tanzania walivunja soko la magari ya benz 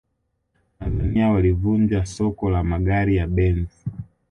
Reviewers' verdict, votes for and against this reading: rejected, 1, 2